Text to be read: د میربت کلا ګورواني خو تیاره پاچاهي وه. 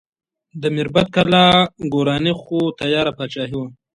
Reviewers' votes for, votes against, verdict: 2, 1, accepted